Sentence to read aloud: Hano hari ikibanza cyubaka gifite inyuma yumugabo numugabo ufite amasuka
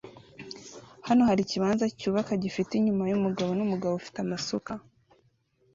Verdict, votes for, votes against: accepted, 2, 0